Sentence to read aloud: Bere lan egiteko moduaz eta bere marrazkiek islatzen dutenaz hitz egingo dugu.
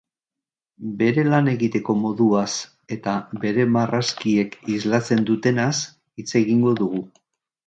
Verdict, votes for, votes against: accepted, 2, 0